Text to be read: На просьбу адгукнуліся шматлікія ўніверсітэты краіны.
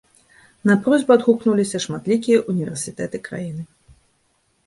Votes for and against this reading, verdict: 2, 0, accepted